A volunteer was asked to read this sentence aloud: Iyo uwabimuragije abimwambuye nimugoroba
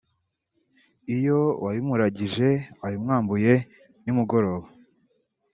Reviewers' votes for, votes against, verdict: 3, 2, accepted